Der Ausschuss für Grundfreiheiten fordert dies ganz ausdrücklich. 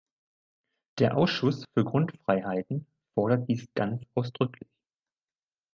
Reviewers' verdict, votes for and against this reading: accepted, 2, 0